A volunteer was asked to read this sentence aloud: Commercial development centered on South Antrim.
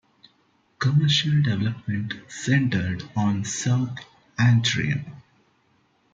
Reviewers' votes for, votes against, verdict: 2, 0, accepted